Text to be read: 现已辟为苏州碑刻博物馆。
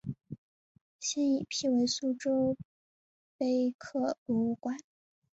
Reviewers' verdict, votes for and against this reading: accepted, 3, 0